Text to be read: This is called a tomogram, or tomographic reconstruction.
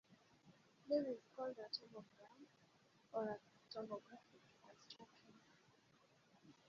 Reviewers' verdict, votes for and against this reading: rejected, 1, 2